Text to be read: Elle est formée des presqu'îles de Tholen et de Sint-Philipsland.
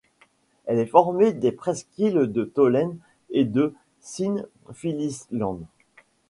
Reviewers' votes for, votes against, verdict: 1, 2, rejected